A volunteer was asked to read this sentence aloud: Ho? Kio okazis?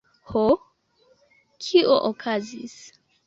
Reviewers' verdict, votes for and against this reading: accepted, 2, 0